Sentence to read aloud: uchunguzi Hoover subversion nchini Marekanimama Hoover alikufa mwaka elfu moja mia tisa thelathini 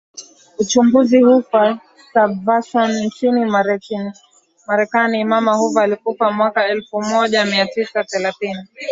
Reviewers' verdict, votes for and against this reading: accepted, 8, 2